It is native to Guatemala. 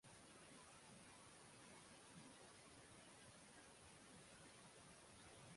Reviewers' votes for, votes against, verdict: 3, 6, rejected